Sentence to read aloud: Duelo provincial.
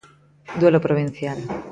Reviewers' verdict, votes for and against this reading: accepted, 2, 0